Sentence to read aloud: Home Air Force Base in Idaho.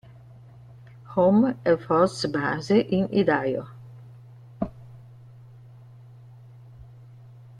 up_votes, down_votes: 1, 2